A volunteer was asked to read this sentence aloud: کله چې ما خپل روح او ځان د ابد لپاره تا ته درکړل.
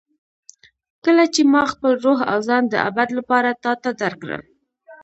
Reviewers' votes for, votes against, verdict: 1, 2, rejected